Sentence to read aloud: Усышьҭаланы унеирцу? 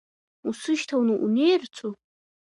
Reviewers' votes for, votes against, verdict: 2, 1, accepted